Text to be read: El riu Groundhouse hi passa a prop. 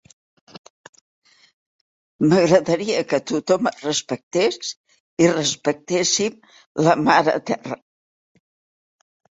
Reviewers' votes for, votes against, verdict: 0, 2, rejected